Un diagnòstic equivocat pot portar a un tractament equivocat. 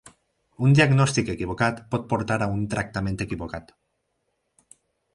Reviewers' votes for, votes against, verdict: 4, 0, accepted